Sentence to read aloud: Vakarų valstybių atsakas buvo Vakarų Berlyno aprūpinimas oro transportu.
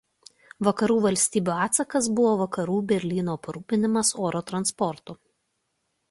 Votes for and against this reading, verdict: 2, 0, accepted